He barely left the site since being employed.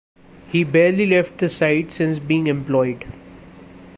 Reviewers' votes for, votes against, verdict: 2, 0, accepted